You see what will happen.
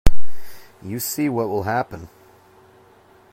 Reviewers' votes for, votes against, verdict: 2, 0, accepted